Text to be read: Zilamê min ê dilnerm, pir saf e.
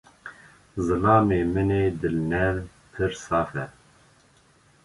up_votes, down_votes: 2, 0